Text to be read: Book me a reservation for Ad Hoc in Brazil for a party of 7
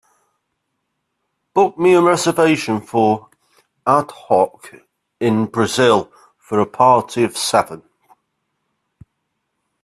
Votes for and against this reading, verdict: 0, 2, rejected